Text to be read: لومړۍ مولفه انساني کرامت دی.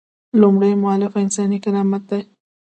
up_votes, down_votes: 1, 2